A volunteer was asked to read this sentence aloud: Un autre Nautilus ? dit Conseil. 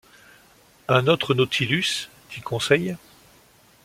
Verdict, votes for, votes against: accepted, 2, 0